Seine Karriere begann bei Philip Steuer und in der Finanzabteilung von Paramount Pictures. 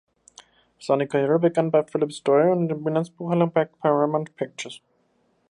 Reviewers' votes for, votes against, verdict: 0, 2, rejected